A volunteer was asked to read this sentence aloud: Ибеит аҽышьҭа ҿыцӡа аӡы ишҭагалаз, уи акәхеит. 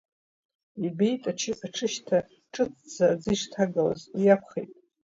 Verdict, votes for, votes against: rejected, 1, 2